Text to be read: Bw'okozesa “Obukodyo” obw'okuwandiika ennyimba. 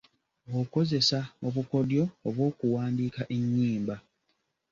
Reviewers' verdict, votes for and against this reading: accepted, 2, 0